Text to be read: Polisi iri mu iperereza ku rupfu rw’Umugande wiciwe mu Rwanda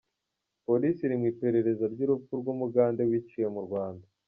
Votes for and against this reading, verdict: 1, 2, rejected